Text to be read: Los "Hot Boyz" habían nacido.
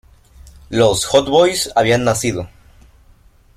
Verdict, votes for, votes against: accepted, 2, 0